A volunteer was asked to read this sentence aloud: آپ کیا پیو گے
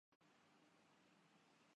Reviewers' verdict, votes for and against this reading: rejected, 0, 3